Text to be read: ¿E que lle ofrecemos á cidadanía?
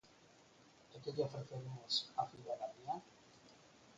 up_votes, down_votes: 0, 4